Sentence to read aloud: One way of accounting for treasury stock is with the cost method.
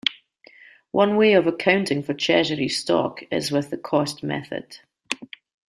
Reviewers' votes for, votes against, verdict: 2, 0, accepted